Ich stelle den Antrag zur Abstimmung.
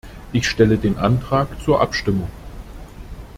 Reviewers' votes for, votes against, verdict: 2, 0, accepted